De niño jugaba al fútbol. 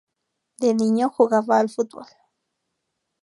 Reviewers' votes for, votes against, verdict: 8, 0, accepted